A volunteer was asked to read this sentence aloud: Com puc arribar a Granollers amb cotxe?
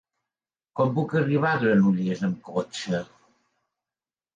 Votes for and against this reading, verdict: 2, 0, accepted